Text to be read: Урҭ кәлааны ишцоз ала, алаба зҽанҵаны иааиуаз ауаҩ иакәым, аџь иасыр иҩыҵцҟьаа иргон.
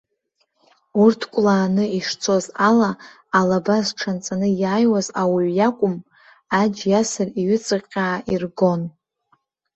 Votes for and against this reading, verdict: 1, 2, rejected